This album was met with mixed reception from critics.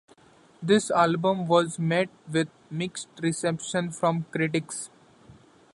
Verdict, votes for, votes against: accepted, 2, 0